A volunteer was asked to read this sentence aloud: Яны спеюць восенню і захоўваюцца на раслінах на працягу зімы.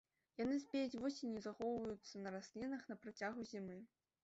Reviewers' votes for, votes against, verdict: 1, 2, rejected